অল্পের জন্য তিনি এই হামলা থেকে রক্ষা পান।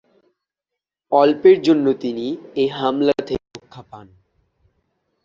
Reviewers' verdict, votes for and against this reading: rejected, 4, 6